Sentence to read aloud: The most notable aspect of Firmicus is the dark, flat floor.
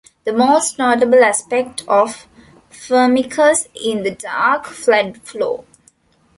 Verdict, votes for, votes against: rejected, 1, 2